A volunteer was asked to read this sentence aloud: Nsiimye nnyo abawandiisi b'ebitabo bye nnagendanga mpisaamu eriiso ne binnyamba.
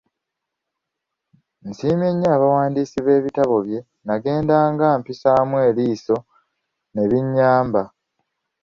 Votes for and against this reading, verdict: 2, 0, accepted